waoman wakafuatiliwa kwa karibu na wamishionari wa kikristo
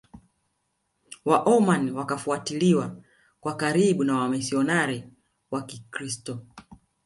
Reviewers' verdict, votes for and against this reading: accepted, 2, 0